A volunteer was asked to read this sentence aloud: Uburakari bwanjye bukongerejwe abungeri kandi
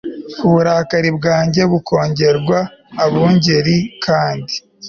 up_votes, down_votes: 1, 2